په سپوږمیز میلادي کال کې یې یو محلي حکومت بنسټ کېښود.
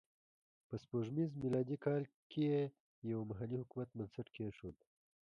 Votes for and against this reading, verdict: 1, 2, rejected